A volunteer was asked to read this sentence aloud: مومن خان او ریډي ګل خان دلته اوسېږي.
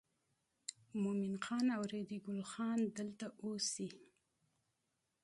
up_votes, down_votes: 1, 2